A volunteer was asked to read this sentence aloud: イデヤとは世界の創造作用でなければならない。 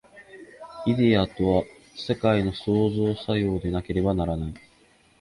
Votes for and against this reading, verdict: 2, 0, accepted